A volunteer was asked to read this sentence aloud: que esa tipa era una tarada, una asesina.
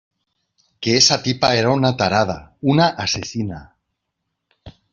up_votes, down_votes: 2, 0